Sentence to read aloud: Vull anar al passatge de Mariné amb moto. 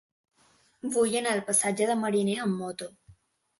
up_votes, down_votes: 2, 0